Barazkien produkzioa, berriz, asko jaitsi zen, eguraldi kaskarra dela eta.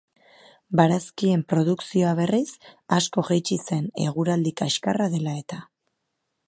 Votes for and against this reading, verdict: 2, 0, accepted